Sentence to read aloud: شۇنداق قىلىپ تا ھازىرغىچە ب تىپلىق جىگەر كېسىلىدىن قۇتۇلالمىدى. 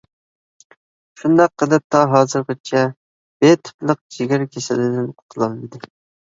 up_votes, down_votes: 0, 2